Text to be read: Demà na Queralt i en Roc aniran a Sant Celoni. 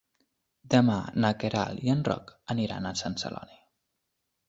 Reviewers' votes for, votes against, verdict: 4, 0, accepted